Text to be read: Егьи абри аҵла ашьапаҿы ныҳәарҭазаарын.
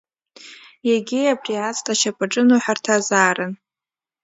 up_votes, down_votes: 2, 0